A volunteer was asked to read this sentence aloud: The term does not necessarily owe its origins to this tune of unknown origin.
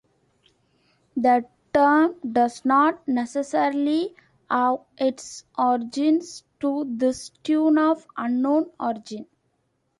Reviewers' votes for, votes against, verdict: 1, 2, rejected